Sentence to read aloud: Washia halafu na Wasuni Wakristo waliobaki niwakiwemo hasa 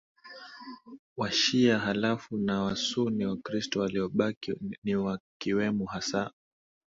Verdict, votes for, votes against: accepted, 2, 0